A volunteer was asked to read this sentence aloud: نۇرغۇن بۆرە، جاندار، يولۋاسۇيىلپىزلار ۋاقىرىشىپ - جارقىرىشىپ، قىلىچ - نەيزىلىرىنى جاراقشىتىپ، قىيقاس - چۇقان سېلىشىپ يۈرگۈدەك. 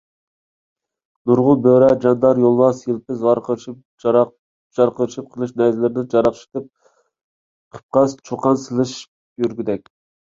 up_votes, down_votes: 0, 2